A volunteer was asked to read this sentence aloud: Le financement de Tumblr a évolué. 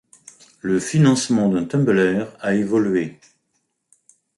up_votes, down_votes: 2, 0